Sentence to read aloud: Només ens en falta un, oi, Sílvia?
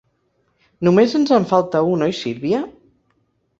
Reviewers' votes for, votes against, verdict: 2, 0, accepted